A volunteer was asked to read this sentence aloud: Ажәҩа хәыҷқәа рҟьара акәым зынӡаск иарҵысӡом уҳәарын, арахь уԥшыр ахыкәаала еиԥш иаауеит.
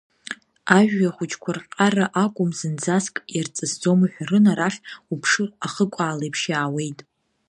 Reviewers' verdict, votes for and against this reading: rejected, 0, 2